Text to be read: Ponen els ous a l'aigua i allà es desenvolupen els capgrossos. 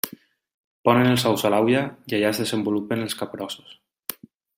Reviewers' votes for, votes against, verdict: 0, 2, rejected